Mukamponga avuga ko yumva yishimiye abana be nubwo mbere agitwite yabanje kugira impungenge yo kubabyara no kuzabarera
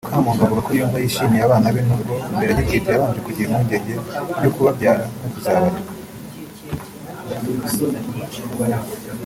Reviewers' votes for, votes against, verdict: 0, 2, rejected